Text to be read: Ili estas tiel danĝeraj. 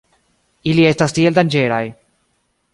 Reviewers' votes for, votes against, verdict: 2, 0, accepted